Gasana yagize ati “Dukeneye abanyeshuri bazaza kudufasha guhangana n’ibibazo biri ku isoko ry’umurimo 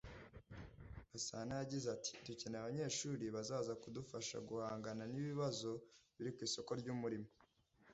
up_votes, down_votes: 2, 0